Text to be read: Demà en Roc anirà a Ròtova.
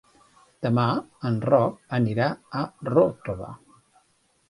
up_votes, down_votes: 3, 0